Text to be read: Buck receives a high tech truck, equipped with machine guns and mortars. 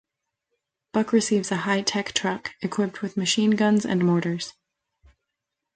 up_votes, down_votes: 2, 0